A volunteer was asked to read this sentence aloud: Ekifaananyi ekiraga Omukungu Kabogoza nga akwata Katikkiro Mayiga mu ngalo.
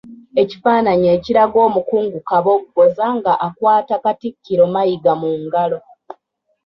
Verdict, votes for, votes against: rejected, 0, 2